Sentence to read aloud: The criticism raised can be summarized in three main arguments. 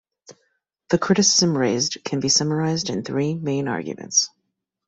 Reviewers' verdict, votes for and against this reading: accepted, 2, 0